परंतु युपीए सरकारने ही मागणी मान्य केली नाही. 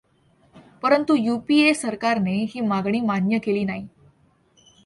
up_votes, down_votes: 2, 0